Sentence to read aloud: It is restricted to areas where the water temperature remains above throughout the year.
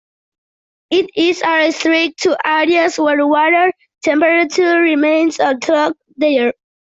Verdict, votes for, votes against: rejected, 0, 2